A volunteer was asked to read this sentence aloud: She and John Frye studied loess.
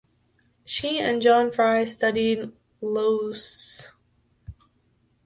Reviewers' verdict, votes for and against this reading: accepted, 2, 1